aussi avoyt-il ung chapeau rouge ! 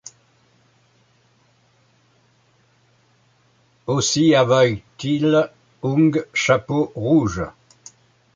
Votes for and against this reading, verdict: 2, 0, accepted